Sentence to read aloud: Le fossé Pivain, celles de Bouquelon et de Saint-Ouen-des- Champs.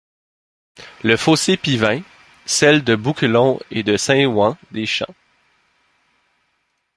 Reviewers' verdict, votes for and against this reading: rejected, 1, 2